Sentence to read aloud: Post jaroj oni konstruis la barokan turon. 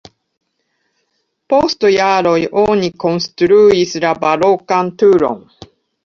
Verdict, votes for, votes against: rejected, 1, 2